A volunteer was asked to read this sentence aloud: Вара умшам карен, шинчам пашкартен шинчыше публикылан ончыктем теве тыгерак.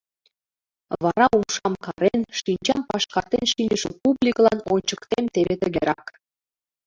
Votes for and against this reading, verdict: 1, 2, rejected